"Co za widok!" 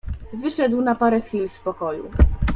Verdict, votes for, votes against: rejected, 0, 2